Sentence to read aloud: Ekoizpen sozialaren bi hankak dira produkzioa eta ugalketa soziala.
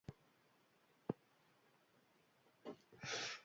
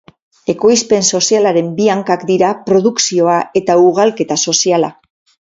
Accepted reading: second